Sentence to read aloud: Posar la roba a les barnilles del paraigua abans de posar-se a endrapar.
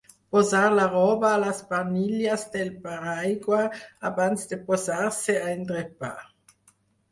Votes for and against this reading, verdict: 6, 0, accepted